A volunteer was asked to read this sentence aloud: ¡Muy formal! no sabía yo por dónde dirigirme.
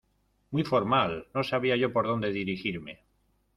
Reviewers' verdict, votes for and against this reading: accepted, 2, 0